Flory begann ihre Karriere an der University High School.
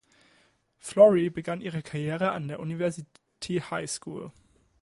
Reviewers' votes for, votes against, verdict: 1, 2, rejected